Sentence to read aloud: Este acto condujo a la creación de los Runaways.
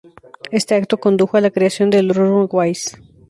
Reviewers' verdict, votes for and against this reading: rejected, 0, 4